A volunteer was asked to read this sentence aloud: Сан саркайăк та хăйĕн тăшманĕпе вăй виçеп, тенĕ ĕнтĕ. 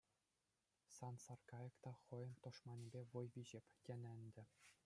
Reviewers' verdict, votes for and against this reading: accepted, 2, 0